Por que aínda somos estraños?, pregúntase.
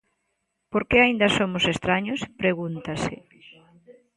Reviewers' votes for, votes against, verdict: 2, 0, accepted